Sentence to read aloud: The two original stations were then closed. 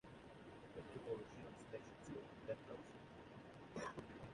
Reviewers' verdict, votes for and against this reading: rejected, 0, 2